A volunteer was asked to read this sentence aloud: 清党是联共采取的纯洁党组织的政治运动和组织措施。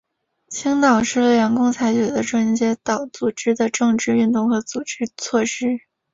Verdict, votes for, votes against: accepted, 3, 1